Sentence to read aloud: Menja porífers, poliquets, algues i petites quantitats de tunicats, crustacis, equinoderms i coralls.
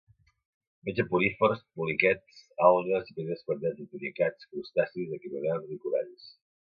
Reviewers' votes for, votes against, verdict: 1, 2, rejected